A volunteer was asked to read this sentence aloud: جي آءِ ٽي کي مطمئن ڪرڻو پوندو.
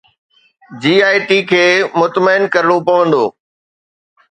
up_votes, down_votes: 2, 0